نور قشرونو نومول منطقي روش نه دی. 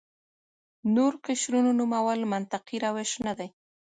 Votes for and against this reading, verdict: 2, 1, accepted